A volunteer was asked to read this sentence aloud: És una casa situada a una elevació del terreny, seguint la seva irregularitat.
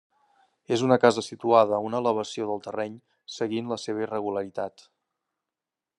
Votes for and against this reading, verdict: 3, 0, accepted